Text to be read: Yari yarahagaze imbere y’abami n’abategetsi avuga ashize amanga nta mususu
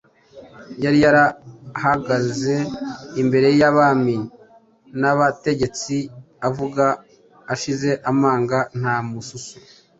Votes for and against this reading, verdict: 2, 0, accepted